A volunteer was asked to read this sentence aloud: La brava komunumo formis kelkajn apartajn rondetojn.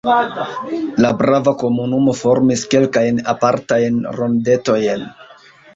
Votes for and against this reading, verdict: 0, 2, rejected